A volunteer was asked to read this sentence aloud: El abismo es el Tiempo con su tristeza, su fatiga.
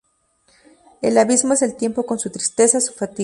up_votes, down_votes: 0, 2